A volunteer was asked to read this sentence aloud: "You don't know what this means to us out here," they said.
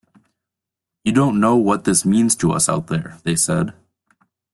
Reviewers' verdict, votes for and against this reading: accepted, 2, 0